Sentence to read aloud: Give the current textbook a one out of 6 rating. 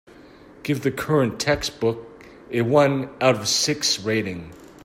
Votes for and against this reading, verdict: 0, 2, rejected